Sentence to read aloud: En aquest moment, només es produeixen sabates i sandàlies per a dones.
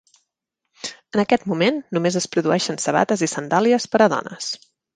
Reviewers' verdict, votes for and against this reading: accepted, 3, 0